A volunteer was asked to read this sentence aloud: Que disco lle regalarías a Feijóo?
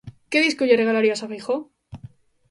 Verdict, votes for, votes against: accepted, 2, 0